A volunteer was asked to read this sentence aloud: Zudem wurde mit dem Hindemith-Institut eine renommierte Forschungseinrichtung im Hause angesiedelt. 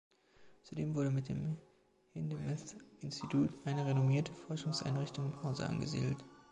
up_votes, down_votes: 1, 2